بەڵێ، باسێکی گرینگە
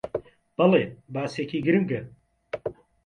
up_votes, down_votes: 2, 0